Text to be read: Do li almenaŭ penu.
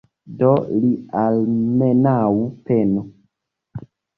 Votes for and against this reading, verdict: 2, 0, accepted